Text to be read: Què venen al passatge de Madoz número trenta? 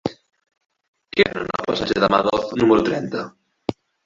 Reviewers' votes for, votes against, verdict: 2, 1, accepted